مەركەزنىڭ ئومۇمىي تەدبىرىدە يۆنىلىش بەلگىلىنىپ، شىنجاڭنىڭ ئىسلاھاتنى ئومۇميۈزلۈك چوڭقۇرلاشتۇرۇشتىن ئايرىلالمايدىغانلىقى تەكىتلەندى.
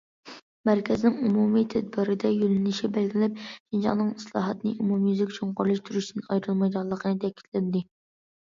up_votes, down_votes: 0, 2